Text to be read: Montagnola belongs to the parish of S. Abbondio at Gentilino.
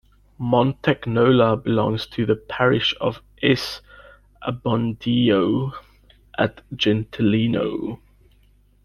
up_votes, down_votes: 2, 0